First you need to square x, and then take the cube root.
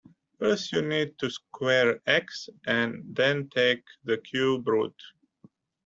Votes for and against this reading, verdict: 2, 0, accepted